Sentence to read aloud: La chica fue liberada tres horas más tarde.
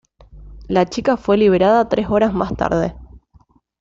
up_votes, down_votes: 2, 1